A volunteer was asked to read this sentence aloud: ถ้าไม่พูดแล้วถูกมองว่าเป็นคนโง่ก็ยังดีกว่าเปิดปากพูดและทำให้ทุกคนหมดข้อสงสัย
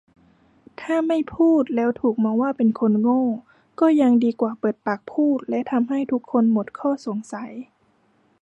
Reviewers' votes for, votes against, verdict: 2, 0, accepted